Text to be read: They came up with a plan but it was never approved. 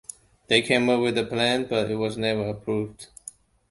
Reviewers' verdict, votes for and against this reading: accepted, 2, 0